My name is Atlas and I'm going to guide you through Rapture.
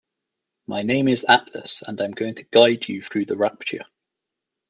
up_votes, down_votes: 0, 2